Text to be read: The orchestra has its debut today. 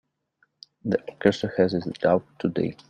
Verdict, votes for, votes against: rejected, 0, 2